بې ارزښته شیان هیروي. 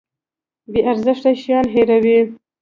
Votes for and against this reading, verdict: 1, 2, rejected